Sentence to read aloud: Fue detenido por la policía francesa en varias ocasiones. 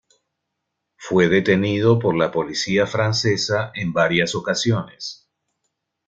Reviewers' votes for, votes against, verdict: 2, 0, accepted